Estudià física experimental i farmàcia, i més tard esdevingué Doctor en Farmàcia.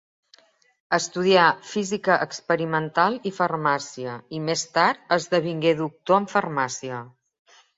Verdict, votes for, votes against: accepted, 2, 0